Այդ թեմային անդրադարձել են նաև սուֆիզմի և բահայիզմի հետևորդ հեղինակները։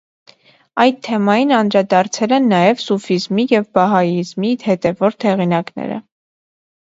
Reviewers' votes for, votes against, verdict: 3, 0, accepted